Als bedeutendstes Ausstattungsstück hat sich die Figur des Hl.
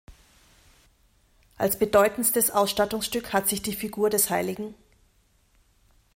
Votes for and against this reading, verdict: 0, 2, rejected